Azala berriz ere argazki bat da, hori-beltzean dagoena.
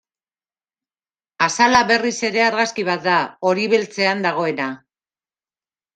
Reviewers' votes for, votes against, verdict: 2, 0, accepted